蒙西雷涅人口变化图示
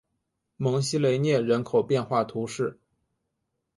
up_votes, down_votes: 2, 0